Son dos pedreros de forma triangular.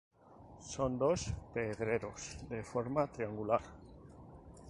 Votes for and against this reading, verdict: 4, 0, accepted